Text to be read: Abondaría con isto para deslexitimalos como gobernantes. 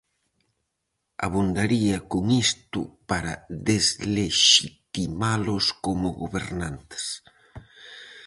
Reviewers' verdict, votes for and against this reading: rejected, 0, 4